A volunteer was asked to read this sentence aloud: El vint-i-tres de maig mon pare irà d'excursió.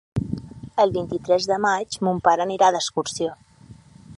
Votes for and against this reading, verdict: 0, 6, rejected